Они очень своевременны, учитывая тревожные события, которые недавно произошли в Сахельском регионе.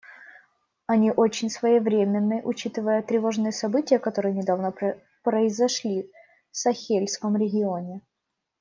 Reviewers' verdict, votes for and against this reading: rejected, 1, 2